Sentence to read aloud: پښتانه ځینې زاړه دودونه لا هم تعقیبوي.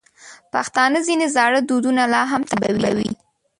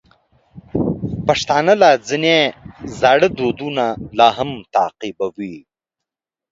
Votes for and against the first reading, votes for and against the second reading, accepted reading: 0, 3, 2, 1, second